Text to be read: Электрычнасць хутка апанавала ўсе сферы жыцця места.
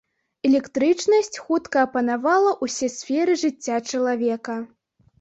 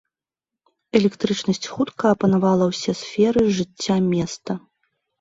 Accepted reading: second